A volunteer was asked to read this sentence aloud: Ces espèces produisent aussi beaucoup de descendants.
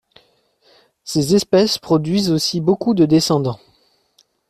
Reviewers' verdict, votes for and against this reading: accepted, 2, 0